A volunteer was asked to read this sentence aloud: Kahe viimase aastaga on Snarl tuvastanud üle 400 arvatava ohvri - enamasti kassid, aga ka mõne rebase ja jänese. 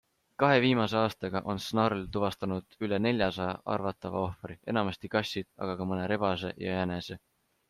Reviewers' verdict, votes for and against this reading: rejected, 0, 2